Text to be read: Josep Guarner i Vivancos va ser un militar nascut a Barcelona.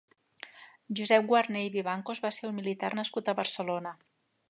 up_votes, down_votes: 2, 0